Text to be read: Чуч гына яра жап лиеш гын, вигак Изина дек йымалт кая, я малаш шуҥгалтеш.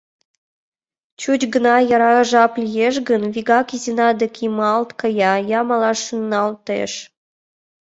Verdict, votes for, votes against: accepted, 2, 1